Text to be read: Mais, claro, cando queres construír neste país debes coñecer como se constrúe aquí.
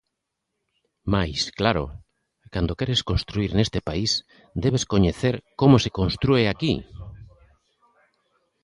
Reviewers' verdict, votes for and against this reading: accepted, 2, 1